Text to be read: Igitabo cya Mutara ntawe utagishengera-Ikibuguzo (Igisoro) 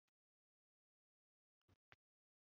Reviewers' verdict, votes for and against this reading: rejected, 0, 2